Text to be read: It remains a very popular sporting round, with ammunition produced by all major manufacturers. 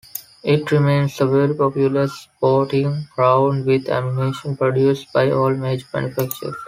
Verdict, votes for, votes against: rejected, 0, 2